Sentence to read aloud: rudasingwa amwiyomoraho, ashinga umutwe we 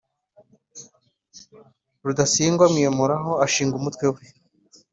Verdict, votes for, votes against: accepted, 4, 0